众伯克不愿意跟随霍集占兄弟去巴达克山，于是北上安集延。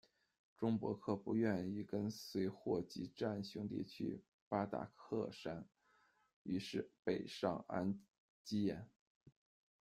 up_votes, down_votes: 1, 2